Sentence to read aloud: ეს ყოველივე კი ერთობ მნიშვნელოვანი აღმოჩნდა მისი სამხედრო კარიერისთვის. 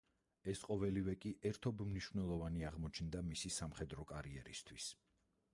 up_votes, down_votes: 2, 4